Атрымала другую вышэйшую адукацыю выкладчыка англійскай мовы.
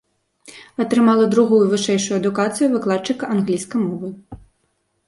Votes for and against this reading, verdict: 2, 0, accepted